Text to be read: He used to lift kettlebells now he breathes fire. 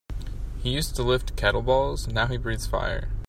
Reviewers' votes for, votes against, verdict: 2, 1, accepted